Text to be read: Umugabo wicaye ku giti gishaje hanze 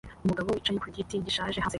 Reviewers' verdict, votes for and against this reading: accepted, 2, 1